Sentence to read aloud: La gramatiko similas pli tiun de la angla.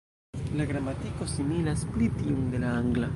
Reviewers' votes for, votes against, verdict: 1, 2, rejected